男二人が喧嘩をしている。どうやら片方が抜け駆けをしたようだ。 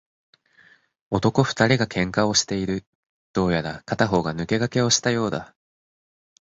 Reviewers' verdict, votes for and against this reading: accepted, 8, 0